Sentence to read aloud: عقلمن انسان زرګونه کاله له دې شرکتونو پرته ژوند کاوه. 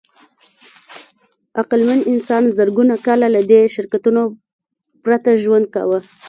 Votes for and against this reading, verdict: 3, 0, accepted